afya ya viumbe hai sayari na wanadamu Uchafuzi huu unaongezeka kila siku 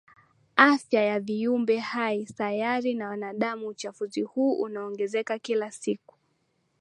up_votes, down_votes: 3, 0